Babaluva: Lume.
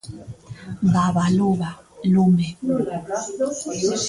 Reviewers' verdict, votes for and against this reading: rejected, 0, 2